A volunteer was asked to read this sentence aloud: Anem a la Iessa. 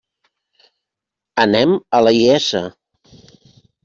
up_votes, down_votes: 2, 0